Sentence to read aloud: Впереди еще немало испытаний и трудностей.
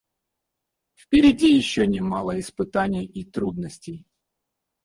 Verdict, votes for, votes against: rejected, 0, 4